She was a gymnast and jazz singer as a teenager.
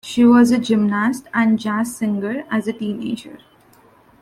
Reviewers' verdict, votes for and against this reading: accepted, 2, 0